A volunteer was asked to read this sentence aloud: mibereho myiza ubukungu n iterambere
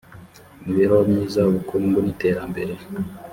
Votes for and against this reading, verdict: 2, 0, accepted